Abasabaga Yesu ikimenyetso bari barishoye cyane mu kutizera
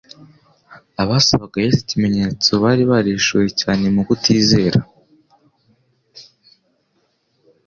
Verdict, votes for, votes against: accepted, 2, 0